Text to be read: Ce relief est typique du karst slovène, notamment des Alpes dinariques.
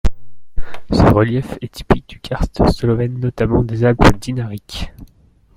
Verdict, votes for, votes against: rejected, 1, 2